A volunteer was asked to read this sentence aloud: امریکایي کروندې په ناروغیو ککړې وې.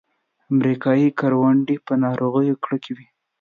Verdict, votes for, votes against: rejected, 1, 2